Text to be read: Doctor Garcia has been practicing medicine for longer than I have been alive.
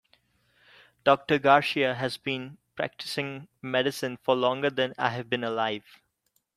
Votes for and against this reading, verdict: 2, 1, accepted